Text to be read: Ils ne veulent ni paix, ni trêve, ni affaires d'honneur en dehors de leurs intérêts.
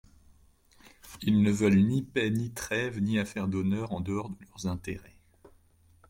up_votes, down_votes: 0, 2